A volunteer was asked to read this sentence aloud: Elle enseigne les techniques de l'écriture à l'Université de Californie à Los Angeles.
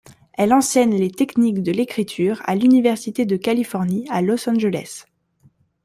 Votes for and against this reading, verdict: 2, 0, accepted